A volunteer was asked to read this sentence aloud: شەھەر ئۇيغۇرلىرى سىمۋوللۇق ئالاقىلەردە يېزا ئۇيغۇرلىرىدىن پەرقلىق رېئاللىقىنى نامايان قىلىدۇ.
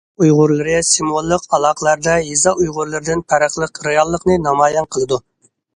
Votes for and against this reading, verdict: 1, 2, rejected